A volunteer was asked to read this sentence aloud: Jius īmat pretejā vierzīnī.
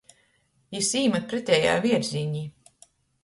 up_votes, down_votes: 0, 2